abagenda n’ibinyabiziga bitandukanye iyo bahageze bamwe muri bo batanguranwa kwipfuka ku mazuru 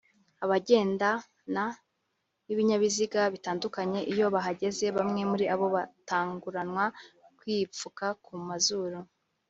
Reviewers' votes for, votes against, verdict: 0, 2, rejected